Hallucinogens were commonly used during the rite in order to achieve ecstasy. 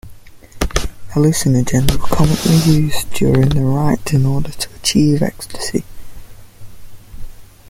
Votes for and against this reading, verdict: 2, 0, accepted